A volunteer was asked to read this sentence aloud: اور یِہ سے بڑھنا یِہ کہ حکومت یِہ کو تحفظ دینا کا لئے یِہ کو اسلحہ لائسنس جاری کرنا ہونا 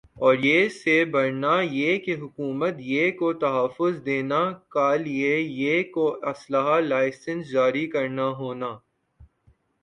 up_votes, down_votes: 3, 1